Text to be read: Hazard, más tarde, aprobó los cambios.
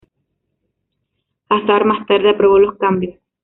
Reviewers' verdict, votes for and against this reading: accepted, 2, 0